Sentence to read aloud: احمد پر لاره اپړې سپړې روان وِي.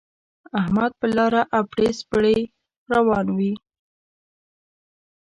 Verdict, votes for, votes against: rejected, 1, 2